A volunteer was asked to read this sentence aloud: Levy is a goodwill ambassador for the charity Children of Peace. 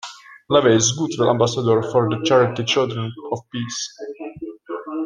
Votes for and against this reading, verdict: 0, 2, rejected